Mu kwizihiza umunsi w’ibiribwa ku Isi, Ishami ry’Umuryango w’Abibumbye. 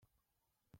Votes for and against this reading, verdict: 0, 2, rejected